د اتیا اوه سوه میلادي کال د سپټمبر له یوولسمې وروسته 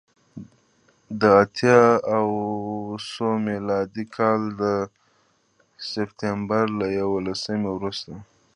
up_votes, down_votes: 1, 2